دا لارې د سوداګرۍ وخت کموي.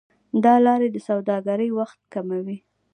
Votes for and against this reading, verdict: 2, 1, accepted